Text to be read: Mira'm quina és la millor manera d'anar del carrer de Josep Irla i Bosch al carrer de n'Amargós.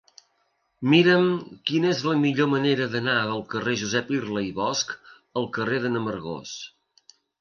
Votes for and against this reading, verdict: 0, 2, rejected